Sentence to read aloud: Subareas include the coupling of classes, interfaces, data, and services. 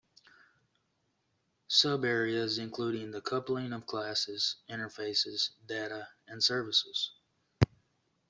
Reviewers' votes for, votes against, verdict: 0, 2, rejected